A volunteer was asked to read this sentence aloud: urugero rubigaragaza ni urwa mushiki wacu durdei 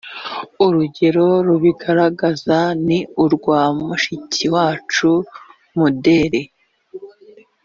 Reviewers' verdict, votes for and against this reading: rejected, 1, 2